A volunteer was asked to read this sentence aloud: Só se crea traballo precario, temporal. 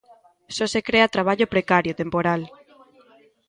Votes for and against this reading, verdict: 1, 2, rejected